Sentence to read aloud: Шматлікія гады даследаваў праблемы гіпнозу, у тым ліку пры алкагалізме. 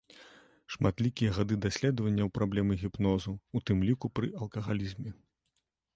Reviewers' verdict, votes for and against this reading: rejected, 0, 2